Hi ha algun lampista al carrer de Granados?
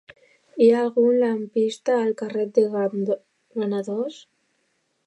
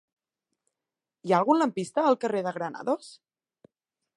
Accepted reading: second